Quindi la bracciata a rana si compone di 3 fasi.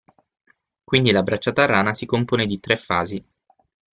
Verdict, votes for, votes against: rejected, 0, 2